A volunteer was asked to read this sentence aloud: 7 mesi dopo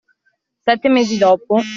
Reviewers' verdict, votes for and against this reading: rejected, 0, 2